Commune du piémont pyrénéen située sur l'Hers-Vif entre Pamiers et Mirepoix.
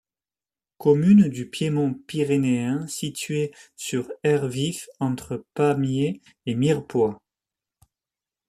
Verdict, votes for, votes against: rejected, 1, 2